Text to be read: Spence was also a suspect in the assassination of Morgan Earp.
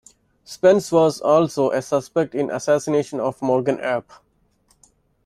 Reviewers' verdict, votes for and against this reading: rejected, 1, 2